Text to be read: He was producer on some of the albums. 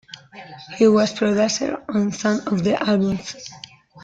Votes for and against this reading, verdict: 3, 2, accepted